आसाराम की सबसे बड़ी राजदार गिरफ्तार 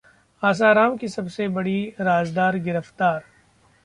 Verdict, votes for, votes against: accepted, 2, 0